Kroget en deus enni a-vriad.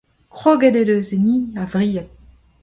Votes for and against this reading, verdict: 2, 0, accepted